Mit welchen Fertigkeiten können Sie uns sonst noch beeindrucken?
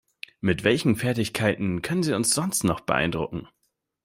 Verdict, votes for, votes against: accepted, 2, 0